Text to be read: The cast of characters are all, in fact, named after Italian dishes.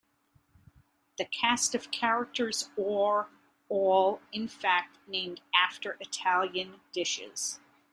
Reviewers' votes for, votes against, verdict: 1, 2, rejected